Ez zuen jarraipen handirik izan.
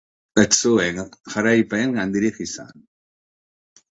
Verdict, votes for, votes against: accepted, 2, 1